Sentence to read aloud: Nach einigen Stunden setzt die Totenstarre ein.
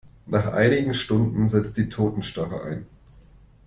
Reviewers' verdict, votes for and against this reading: accepted, 2, 0